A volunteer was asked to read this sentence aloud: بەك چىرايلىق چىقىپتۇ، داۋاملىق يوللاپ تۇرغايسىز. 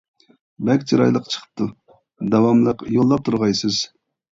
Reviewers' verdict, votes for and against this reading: accepted, 2, 0